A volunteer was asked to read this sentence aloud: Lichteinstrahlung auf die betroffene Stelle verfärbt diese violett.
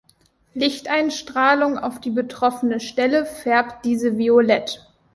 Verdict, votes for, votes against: rejected, 0, 2